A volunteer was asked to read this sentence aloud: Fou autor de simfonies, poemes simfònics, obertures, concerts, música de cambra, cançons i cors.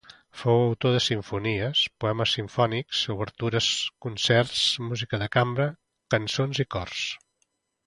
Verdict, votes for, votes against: accepted, 3, 0